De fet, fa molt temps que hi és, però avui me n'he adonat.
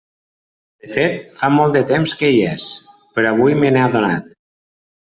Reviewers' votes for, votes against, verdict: 1, 2, rejected